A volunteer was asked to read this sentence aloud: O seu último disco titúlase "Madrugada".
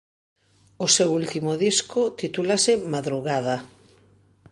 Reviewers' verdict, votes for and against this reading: rejected, 0, 2